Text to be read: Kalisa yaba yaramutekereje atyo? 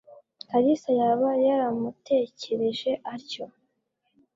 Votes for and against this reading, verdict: 2, 0, accepted